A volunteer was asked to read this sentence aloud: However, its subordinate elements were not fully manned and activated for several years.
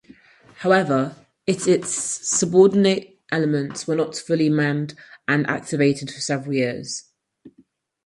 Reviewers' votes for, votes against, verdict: 2, 4, rejected